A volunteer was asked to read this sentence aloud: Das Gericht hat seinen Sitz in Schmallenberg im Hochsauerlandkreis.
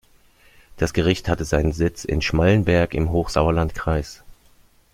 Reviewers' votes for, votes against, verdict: 1, 2, rejected